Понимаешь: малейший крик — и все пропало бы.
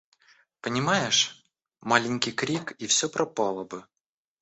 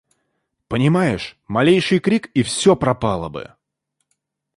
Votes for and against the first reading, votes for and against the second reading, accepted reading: 0, 2, 2, 0, second